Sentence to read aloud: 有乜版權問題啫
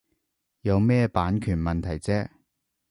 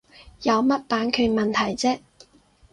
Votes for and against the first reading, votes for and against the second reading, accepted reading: 0, 3, 4, 0, second